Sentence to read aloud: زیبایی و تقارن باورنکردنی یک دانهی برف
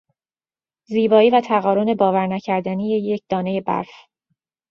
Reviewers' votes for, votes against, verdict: 2, 0, accepted